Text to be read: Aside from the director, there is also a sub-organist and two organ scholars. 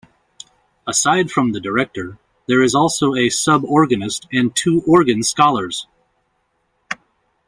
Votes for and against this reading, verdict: 2, 0, accepted